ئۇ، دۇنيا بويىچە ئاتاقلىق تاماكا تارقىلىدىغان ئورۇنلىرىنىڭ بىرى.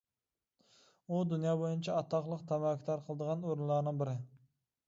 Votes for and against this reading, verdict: 1, 2, rejected